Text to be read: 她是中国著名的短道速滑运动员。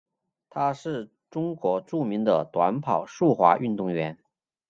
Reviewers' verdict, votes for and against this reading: rejected, 0, 2